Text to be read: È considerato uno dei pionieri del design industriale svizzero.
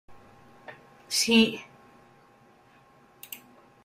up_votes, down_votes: 0, 2